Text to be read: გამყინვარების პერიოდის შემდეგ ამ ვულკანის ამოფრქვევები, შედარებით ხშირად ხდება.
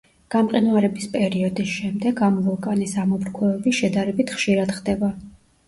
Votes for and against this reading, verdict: 0, 2, rejected